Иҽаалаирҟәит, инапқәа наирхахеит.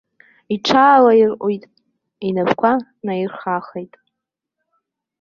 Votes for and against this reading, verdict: 1, 2, rejected